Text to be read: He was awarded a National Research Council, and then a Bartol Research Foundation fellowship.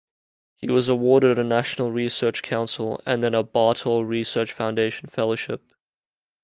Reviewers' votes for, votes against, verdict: 2, 0, accepted